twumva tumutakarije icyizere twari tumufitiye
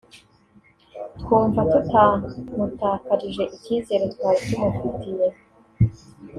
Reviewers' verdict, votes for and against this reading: accepted, 2, 0